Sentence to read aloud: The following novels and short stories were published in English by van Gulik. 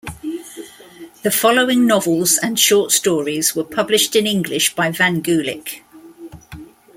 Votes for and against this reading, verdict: 2, 0, accepted